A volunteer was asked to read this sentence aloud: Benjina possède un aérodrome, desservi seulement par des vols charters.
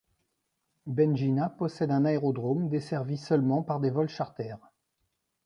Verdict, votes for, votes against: rejected, 0, 2